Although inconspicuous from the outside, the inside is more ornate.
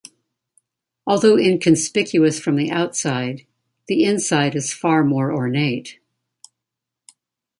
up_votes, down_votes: 0, 2